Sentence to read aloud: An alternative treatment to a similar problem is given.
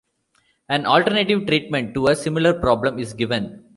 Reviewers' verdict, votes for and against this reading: accepted, 2, 0